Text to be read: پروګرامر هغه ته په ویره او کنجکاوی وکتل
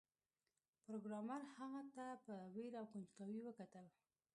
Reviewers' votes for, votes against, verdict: 2, 0, accepted